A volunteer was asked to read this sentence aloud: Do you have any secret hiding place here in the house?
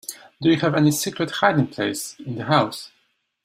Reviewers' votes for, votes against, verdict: 0, 2, rejected